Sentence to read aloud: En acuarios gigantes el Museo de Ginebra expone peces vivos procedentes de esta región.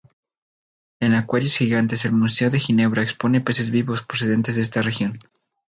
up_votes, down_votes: 2, 0